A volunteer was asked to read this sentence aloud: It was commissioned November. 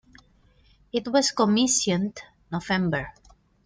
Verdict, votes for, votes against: accepted, 2, 0